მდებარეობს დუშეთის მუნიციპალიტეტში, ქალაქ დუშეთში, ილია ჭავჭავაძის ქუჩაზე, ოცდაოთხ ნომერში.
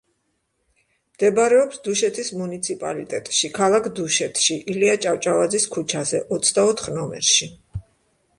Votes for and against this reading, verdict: 2, 0, accepted